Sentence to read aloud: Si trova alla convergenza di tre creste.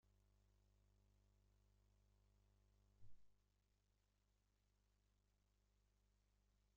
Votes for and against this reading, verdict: 0, 2, rejected